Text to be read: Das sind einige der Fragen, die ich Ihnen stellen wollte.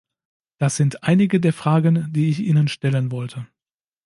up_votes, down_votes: 2, 0